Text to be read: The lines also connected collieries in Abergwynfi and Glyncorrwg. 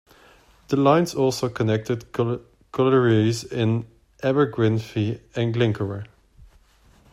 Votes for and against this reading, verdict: 2, 1, accepted